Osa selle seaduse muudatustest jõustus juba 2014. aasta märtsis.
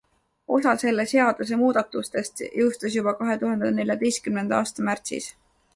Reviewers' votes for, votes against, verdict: 0, 2, rejected